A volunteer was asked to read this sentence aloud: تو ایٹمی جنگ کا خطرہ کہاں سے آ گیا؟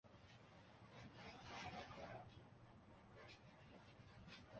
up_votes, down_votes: 0, 2